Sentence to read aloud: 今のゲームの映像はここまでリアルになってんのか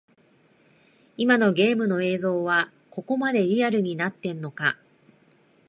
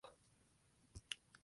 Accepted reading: first